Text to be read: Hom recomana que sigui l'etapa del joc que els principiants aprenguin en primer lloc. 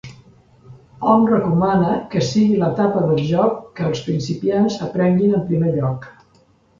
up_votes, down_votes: 1, 2